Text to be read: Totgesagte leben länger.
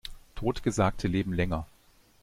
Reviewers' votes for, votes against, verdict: 2, 0, accepted